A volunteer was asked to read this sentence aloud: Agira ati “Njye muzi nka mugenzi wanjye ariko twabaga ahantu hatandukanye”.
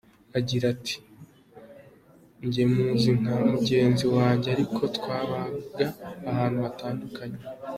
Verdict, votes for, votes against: accepted, 2, 1